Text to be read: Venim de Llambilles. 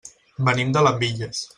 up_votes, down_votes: 0, 2